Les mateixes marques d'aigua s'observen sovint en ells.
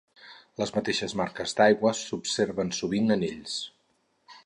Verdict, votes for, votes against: accepted, 4, 0